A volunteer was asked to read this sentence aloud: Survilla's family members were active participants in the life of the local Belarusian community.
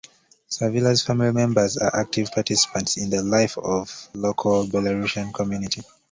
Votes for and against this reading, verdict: 0, 2, rejected